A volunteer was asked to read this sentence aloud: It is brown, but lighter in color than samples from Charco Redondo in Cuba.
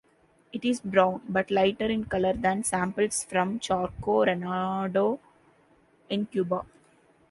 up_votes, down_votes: 0, 2